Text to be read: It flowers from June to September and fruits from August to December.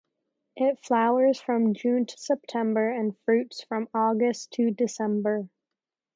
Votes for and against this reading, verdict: 0, 2, rejected